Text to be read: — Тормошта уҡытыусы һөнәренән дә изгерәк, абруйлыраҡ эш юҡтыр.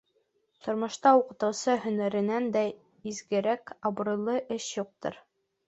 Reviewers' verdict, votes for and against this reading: rejected, 1, 3